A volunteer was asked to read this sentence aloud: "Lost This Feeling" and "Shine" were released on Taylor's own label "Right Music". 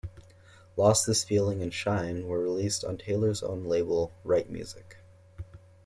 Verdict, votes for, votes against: accepted, 2, 0